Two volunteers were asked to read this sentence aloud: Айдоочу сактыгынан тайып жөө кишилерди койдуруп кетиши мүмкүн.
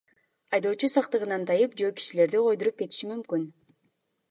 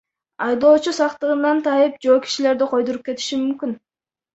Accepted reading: first